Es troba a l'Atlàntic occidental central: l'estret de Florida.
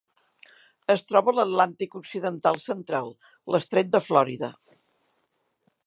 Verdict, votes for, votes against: rejected, 1, 3